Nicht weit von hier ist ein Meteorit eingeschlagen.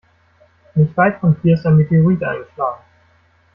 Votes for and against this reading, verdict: 1, 2, rejected